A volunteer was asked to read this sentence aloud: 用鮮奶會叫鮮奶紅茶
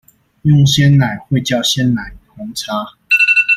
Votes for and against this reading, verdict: 1, 2, rejected